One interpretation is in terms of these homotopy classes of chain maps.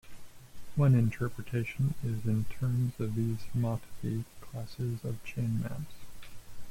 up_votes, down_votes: 1, 2